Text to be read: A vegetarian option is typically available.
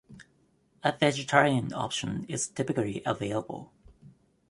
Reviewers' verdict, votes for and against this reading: accepted, 2, 0